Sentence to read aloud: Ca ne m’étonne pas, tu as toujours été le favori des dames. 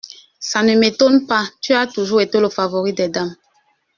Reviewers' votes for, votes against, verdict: 2, 1, accepted